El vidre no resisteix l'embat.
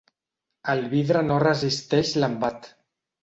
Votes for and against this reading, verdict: 3, 0, accepted